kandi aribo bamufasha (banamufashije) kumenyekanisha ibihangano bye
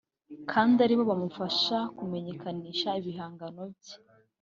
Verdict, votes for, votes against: rejected, 0, 3